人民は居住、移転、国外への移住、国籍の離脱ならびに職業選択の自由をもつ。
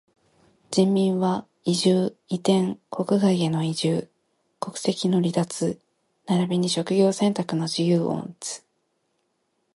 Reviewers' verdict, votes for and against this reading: rejected, 0, 2